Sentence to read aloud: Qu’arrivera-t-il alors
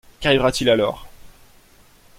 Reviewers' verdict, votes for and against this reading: accepted, 2, 0